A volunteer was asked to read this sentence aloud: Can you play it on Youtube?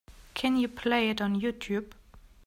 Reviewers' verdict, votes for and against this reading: accepted, 2, 0